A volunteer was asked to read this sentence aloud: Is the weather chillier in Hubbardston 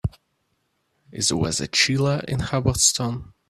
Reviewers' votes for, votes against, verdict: 2, 1, accepted